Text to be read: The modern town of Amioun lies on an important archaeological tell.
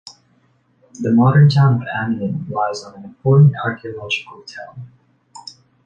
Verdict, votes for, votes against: accepted, 2, 0